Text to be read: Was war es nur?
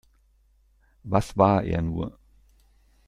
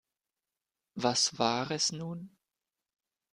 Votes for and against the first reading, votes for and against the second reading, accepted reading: 1, 2, 2, 0, second